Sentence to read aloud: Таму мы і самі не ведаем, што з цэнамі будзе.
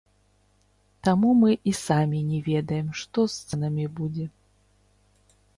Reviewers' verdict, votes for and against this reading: rejected, 1, 2